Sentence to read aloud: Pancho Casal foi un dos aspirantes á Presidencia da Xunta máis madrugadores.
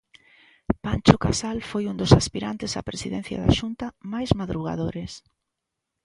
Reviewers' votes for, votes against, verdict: 2, 0, accepted